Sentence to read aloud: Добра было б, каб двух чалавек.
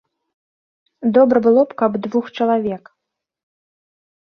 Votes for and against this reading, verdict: 3, 0, accepted